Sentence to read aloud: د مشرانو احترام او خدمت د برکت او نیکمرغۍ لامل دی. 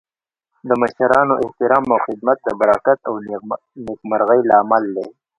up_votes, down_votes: 2, 0